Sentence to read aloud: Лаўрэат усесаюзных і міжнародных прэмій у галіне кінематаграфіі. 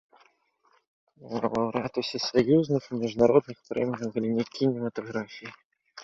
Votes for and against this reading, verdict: 0, 2, rejected